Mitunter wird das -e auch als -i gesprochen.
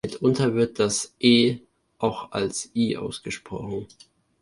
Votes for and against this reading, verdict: 1, 2, rejected